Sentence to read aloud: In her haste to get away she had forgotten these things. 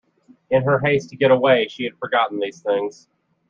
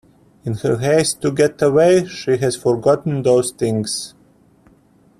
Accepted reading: first